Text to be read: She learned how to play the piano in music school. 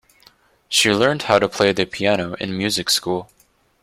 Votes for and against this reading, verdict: 2, 0, accepted